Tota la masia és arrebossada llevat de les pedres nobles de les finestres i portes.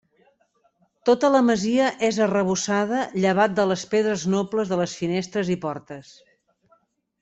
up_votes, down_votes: 3, 0